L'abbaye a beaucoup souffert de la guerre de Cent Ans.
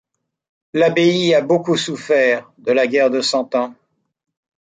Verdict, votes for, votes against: accepted, 2, 0